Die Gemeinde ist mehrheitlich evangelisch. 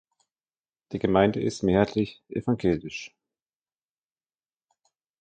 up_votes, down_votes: 2, 0